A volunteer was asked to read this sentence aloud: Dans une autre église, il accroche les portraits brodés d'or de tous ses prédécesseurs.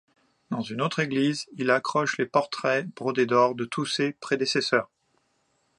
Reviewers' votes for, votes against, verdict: 0, 2, rejected